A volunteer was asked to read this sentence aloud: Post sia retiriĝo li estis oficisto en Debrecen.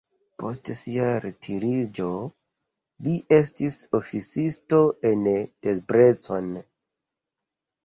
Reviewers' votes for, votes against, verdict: 1, 2, rejected